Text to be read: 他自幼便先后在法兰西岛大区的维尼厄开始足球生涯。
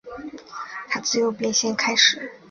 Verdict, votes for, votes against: rejected, 1, 3